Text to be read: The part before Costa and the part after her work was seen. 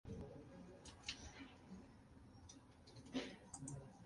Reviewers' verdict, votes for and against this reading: rejected, 0, 2